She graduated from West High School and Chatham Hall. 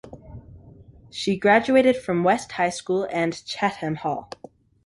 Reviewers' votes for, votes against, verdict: 2, 0, accepted